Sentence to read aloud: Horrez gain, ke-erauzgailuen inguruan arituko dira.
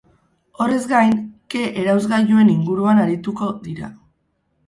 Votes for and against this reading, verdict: 4, 0, accepted